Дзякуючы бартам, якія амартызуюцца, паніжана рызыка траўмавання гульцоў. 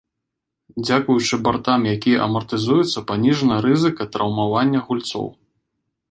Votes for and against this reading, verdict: 2, 1, accepted